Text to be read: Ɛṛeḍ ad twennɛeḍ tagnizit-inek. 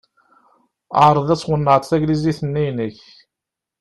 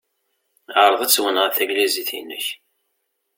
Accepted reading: second